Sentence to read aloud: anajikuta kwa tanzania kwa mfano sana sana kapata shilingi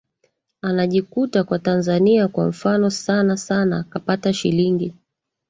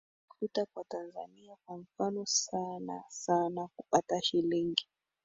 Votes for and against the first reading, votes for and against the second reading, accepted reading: 3, 1, 2, 4, first